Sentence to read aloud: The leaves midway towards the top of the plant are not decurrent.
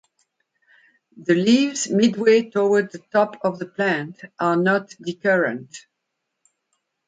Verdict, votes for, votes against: accepted, 4, 0